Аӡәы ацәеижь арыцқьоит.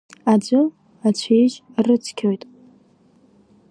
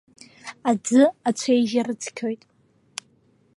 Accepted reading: second